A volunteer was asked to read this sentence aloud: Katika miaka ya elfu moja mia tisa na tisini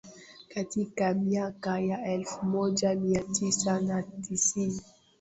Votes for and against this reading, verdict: 0, 2, rejected